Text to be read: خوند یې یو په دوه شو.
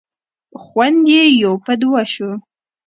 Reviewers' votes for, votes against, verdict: 2, 0, accepted